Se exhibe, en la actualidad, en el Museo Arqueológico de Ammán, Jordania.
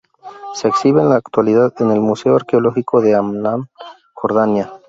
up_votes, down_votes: 2, 4